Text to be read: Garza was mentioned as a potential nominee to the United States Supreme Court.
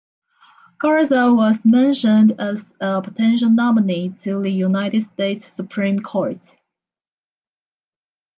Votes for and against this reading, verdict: 2, 0, accepted